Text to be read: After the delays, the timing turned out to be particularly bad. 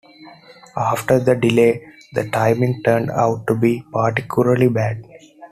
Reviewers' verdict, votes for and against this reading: accepted, 2, 1